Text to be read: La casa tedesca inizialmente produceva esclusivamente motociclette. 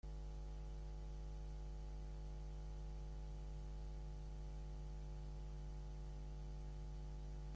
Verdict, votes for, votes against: rejected, 0, 2